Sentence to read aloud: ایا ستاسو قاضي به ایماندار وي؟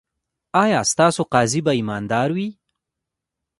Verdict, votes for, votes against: rejected, 0, 2